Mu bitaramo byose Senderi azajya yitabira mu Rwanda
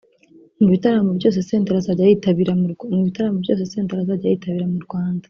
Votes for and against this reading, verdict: 1, 3, rejected